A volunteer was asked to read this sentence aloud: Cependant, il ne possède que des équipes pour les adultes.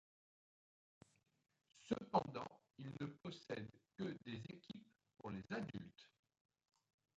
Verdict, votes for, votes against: accepted, 2, 1